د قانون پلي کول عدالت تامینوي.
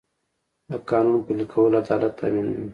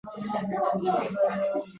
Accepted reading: first